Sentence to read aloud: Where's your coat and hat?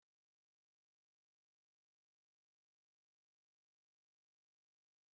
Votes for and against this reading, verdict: 0, 2, rejected